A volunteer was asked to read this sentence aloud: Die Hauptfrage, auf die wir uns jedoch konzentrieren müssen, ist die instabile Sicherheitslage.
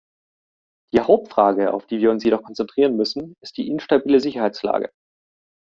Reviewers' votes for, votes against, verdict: 2, 0, accepted